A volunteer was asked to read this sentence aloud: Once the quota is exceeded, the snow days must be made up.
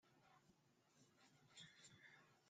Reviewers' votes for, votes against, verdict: 0, 2, rejected